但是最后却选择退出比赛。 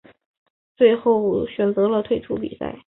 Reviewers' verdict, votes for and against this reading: rejected, 0, 2